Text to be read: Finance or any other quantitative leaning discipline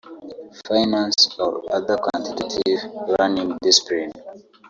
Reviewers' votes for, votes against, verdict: 1, 2, rejected